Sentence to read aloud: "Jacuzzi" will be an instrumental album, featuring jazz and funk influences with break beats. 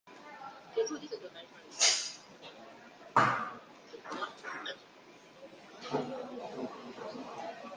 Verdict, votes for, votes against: rejected, 0, 2